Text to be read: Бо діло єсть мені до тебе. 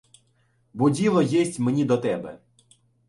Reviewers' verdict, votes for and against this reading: accepted, 2, 0